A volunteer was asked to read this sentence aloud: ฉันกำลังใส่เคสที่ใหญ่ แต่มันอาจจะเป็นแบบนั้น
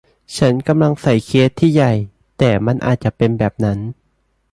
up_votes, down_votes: 2, 0